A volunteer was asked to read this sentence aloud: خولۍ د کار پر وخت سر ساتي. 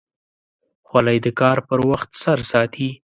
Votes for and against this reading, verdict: 2, 0, accepted